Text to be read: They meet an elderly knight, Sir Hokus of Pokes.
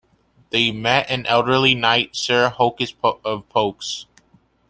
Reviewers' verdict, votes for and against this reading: rejected, 0, 2